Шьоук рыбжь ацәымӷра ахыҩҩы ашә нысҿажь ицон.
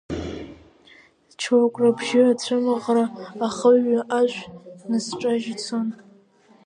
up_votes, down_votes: 1, 2